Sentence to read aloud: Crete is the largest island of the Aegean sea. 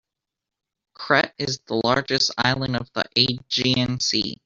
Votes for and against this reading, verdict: 1, 2, rejected